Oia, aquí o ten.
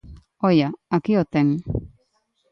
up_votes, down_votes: 2, 0